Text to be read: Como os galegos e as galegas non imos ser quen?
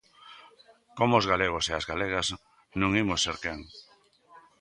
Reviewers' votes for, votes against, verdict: 2, 0, accepted